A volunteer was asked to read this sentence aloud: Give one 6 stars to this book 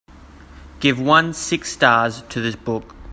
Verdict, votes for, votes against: rejected, 0, 2